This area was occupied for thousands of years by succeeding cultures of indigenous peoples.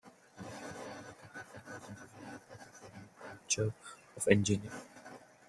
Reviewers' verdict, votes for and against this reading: rejected, 0, 2